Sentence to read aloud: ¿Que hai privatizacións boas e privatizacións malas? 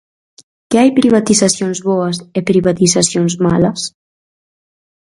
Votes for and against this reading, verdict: 4, 0, accepted